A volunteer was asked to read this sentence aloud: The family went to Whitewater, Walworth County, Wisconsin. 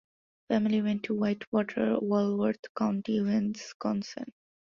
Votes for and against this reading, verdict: 3, 3, rejected